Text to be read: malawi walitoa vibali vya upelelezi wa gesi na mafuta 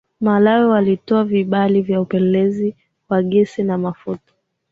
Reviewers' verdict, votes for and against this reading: accepted, 6, 4